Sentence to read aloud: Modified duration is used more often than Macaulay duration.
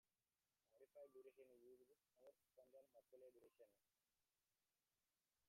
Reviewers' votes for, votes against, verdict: 0, 3, rejected